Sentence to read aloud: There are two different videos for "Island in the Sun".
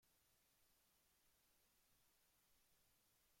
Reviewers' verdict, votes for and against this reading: rejected, 0, 2